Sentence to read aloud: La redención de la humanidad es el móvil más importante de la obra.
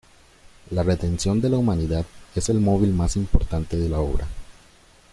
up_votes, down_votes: 1, 2